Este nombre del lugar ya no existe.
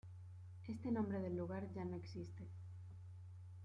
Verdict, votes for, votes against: accepted, 2, 0